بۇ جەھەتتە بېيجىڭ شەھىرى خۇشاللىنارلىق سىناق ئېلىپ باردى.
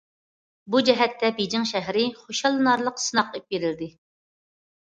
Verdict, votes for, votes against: rejected, 0, 2